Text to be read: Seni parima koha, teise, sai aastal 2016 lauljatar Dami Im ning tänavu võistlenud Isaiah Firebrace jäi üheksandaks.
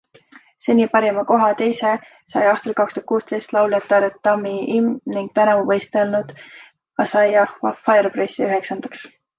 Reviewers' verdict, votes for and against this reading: rejected, 0, 2